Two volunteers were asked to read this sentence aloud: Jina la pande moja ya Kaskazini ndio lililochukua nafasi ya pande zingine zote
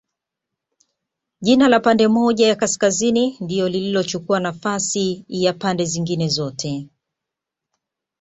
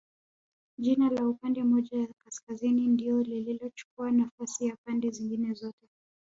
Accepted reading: first